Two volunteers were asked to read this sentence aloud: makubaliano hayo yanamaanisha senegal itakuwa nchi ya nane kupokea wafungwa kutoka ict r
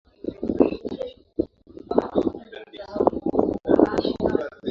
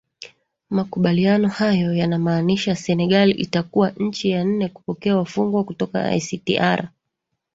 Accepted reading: second